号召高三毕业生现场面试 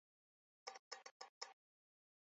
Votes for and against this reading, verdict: 1, 7, rejected